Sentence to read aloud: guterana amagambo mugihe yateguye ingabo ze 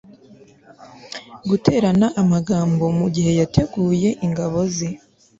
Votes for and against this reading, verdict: 2, 0, accepted